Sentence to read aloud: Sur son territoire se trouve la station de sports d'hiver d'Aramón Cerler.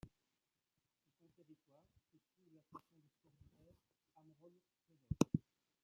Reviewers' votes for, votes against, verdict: 0, 2, rejected